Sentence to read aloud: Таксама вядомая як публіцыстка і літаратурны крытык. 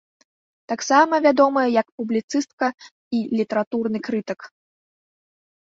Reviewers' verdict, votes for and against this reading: accepted, 3, 1